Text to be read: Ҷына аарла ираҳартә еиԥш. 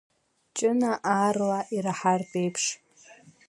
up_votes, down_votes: 2, 0